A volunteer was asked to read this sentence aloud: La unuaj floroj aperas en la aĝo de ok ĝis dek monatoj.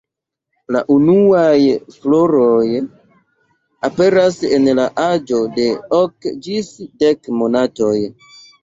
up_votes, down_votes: 2, 0